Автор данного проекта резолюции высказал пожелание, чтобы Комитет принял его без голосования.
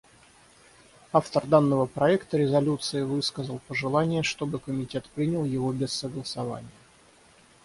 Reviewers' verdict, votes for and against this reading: accepted, 6, 0